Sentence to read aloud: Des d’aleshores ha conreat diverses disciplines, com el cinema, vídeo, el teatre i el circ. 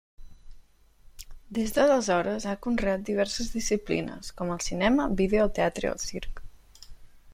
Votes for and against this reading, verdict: 1, 2, rejected